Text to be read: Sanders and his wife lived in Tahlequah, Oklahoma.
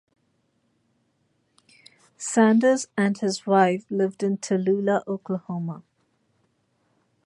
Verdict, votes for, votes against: rejected, 1, 2